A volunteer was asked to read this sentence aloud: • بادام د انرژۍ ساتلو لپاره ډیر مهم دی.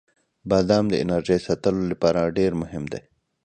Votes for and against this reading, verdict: 2, 1, accepted